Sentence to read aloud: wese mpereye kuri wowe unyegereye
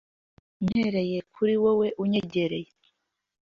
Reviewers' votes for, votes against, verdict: 1, 2, rejected